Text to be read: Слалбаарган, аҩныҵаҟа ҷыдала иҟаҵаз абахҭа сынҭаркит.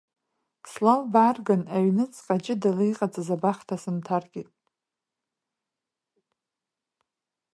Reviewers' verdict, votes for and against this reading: rejected, 1, 2